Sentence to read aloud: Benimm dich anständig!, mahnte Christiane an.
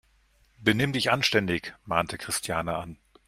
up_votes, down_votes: 2, 0